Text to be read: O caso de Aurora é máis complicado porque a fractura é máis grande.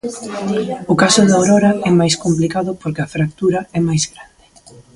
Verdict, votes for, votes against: accepted, 2, 1